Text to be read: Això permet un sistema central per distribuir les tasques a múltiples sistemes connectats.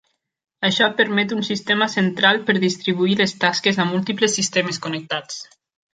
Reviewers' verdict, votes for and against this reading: accepted, 2, 0